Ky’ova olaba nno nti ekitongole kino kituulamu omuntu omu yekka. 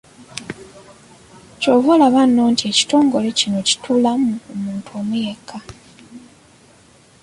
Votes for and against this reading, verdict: 0, 2, rejected